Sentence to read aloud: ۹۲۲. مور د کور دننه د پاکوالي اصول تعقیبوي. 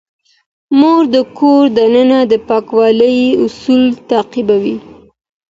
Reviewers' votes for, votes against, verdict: 0, 2, rejected